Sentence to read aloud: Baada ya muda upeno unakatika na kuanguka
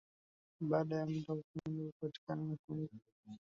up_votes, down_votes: 1, 2